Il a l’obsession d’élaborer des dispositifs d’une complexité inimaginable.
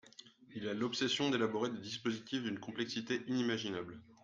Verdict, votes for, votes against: accepted, 2, 0